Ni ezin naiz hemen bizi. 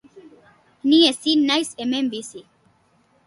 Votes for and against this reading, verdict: 3, 0, accepted